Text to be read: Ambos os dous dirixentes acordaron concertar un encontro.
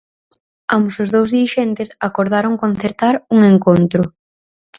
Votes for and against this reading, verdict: 4, 0, accepted